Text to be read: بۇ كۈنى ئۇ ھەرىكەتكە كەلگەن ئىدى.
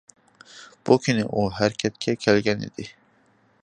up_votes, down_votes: 2, 0